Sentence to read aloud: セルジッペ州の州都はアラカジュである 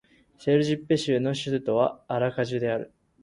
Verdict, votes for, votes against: accepted, 2, 0